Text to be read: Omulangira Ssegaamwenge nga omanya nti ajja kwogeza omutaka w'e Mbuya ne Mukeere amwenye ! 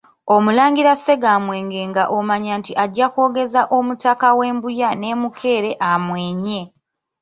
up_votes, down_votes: 2, 0